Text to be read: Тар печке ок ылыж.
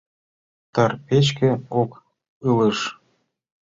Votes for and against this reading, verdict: 2, 0, accepted